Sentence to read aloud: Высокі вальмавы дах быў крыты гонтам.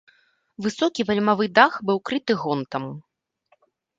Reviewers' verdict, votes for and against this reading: accepted, 2, 0